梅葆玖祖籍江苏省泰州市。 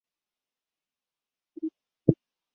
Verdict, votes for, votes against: rejected, 0, 2